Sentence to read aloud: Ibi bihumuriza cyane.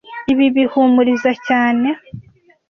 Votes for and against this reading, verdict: 2, 0, accepted